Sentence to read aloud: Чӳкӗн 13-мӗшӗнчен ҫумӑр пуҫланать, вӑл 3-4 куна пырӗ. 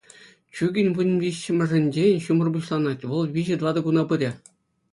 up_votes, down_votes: 0, 2